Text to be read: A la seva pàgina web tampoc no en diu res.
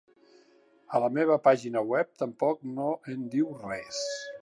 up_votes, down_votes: 1, 2